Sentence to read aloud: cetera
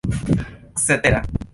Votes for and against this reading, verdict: 1, 2, rejected